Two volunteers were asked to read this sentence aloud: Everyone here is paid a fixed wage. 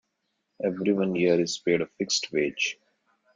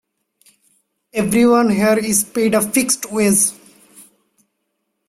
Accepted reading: first